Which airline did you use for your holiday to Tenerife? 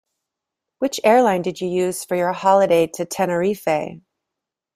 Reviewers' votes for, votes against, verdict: 2, 1, accepted